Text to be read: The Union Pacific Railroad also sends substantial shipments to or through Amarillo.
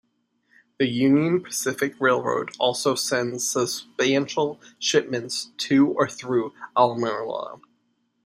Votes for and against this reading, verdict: 1, 2, rejected